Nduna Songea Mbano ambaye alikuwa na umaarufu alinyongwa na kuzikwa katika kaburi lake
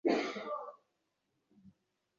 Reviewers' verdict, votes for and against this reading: rejected, 0, 2